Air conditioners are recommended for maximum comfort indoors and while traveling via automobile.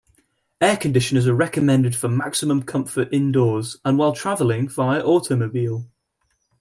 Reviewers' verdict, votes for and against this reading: rejected, 0, 2